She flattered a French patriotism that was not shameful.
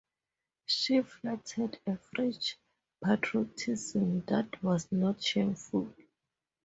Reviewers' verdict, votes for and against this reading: accepted, 2, 0